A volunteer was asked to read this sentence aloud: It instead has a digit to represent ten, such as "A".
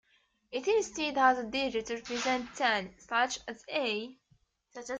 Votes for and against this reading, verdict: 0, 2, rejected